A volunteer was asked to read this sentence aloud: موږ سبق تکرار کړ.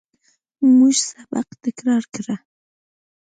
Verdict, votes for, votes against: accepted, 2, 0